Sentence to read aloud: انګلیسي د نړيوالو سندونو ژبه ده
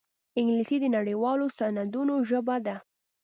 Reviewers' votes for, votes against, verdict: 2, 0, accepted